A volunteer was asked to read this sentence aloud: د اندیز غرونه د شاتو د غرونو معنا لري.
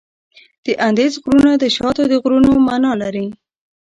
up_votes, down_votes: 0, 2